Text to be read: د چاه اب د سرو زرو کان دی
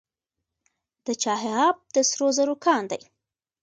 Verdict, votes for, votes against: accepted, 2, 1